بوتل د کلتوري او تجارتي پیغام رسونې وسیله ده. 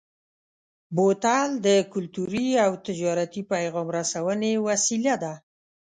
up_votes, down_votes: 2, 0